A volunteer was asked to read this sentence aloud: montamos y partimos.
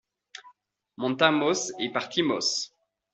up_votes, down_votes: 2, 1